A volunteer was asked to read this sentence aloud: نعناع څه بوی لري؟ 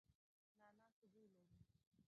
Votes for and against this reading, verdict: 1, 2, rejected